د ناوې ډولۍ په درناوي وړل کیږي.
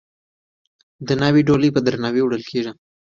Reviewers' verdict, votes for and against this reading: rejected, 1, 2